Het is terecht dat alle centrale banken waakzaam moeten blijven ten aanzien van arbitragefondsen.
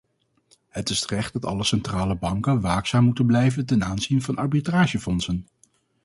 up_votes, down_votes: 4, 0